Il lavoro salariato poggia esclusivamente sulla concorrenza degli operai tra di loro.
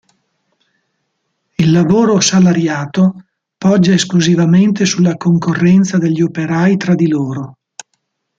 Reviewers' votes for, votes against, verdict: 2, 0, accepted